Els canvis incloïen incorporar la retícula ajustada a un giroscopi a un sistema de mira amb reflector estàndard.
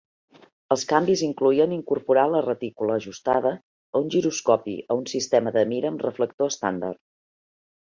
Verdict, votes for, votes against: accepted, 3, 0